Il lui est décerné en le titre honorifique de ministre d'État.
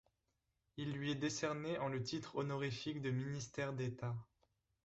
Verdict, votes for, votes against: rejected, 1, 2